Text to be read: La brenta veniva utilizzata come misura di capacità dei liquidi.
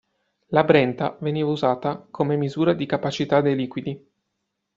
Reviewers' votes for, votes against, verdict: 1, 2, rejected